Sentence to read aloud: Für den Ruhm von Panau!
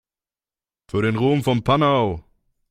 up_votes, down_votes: 2, 0